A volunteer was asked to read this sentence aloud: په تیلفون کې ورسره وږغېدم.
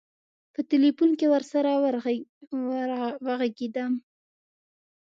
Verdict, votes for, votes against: rejected, 0, 2